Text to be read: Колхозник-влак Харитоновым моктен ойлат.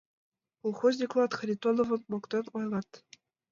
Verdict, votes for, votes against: rejected, 1, 2